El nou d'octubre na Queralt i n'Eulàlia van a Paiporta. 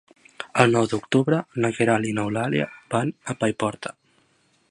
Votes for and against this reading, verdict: 2, 0, accepted